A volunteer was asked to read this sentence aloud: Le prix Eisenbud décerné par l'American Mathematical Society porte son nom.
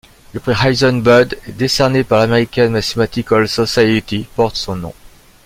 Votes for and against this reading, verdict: 0, 2, rejected